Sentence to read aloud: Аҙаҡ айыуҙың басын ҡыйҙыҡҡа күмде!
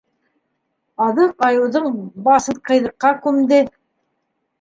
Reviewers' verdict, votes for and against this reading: rejected, 0, 2